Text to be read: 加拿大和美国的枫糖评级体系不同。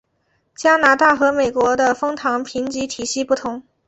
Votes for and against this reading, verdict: 7, 0, accepted